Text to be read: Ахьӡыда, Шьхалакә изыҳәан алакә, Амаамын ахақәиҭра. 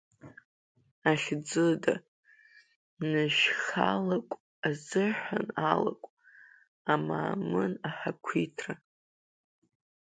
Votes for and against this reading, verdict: 0, 2, rejected